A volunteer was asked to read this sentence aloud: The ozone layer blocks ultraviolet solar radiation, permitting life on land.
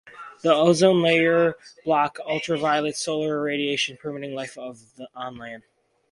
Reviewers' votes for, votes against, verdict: 2, 0, accepted